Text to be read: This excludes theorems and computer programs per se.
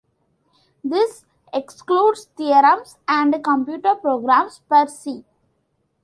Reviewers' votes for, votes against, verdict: 2, 1, accepted